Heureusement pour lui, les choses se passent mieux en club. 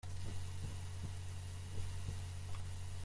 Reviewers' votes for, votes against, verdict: 0, 2, rejected